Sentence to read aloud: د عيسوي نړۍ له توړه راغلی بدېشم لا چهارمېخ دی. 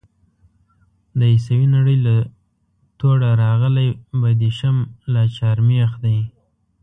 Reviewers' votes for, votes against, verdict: 0, 2, rejected